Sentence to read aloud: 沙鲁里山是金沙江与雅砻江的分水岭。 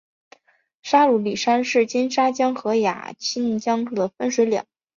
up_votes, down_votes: 4, 2